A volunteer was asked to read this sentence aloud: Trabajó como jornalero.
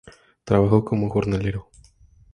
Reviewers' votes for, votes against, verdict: 2, 0, accepted